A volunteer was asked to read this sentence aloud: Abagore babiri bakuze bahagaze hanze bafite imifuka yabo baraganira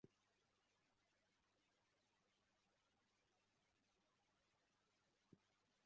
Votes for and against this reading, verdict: 0, 2, rejected